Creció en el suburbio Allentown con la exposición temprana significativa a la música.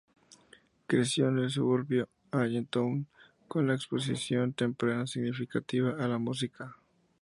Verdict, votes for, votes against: accepted, 2, 0